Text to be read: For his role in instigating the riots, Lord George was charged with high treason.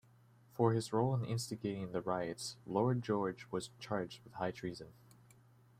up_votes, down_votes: 1, 2